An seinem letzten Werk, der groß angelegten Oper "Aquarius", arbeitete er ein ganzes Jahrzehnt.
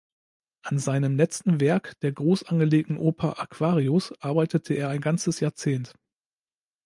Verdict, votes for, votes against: accepted, 2, 0